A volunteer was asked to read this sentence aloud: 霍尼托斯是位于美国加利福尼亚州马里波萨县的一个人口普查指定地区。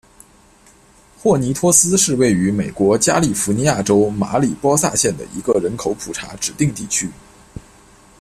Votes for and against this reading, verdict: 2, 0, accepted